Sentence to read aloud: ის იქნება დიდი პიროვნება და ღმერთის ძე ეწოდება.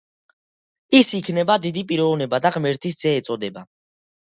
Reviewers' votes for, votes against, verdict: 2, 0, accepted